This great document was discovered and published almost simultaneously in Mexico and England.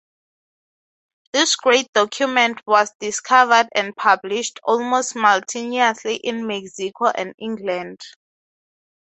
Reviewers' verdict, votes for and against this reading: rejected, 0, 6